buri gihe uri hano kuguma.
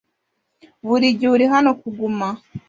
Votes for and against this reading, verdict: 2, 0, accepted